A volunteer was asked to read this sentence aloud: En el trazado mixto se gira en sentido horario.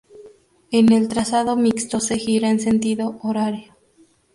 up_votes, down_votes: 2, 0